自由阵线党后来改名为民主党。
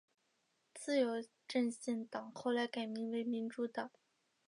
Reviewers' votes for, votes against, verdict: 2, 0, accepted